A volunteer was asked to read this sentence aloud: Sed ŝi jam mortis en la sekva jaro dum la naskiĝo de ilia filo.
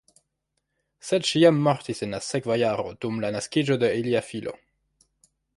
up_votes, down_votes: 2, 1